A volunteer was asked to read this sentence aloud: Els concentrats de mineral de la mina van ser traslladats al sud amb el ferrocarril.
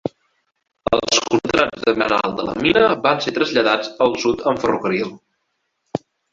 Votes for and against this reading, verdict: 1, 2, rejected